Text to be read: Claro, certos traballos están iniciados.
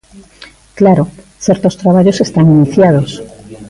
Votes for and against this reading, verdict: 1, 2, rejected